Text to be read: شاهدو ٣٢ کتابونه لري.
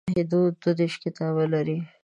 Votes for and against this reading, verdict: 0, 2, rejected